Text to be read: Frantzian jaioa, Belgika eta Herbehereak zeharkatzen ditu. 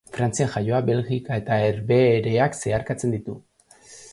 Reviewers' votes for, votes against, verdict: 2, 0, accepted